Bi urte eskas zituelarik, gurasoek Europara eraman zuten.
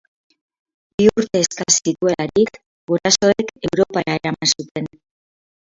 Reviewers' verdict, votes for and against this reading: rejected, 2, 10